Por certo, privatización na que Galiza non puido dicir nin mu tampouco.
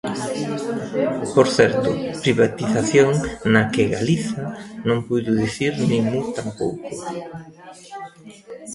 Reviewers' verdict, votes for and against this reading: rejected, 1, 2